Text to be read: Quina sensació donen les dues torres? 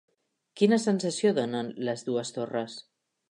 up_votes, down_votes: 3, 0